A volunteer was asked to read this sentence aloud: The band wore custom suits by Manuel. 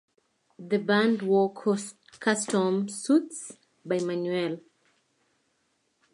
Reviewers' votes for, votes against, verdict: 0, 4, rejected